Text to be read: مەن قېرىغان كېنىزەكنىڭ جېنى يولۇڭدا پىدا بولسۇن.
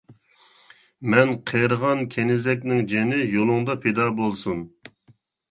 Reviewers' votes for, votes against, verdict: 2, 0, accepted